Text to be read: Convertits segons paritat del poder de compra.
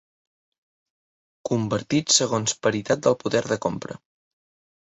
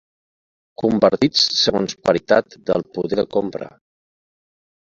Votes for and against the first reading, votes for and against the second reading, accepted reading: 2, 0, 1, 2, first